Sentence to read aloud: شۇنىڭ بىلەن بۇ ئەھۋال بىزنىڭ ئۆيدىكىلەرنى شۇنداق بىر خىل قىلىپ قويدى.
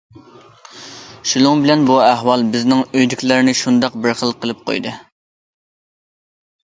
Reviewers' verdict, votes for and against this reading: accepted, 2, 0